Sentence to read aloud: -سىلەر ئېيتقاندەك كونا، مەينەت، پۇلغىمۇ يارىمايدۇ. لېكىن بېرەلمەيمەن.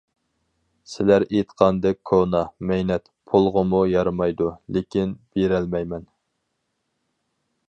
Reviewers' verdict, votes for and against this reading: accepted, 4, 0